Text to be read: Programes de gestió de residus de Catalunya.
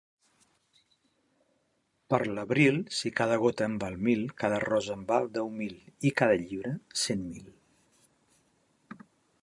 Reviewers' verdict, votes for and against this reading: rejected, 0, 2